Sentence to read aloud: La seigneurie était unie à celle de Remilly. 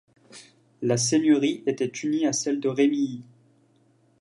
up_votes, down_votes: 2, 1